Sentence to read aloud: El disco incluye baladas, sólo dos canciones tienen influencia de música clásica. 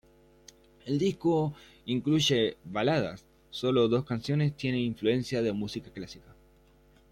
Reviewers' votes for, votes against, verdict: 2, 0, accepted